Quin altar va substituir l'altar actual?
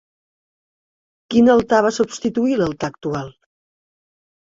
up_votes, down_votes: 3, 1